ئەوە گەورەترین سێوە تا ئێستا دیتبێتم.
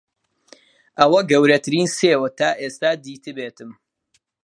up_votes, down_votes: 2, 0